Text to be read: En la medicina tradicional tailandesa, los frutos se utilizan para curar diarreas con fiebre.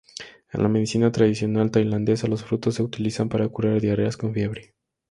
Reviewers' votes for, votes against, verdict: 2, 0, accepted